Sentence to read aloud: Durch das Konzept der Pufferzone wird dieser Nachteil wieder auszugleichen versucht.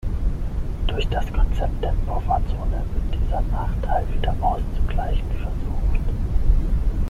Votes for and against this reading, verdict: 3, 6, rejected